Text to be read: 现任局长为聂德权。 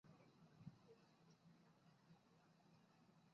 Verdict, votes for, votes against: rejected, 0, 2